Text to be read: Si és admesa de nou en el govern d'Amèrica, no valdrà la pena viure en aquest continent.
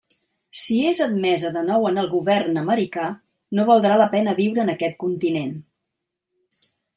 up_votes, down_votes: 1, 2